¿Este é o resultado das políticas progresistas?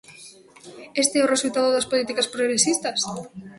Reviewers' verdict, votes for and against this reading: accepted, 2, 1